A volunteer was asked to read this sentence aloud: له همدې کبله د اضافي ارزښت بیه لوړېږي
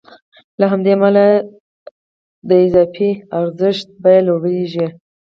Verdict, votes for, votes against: rejected, 2, 4